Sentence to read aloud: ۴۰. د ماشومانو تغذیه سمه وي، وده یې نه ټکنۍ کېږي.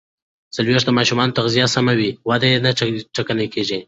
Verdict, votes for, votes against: rejected, 0, 2